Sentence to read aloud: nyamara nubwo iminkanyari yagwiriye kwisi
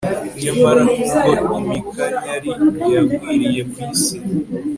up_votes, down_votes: 4, 0